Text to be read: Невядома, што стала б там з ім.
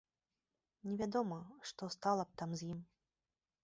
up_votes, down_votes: 1, 2